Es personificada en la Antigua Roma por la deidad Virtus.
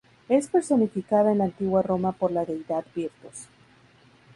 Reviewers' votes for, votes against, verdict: 2, 0, accepted